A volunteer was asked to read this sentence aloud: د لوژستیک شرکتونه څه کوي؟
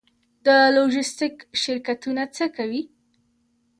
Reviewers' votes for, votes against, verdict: 0, 2, rejected